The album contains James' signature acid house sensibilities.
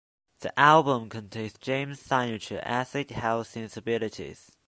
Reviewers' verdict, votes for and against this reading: rejected, 0, 2